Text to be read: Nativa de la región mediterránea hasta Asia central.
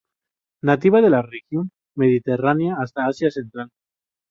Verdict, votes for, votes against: rejected, 2, 2